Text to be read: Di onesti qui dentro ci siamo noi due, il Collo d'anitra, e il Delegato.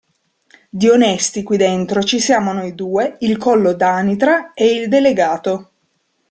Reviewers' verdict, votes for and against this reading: accepted, 2, 0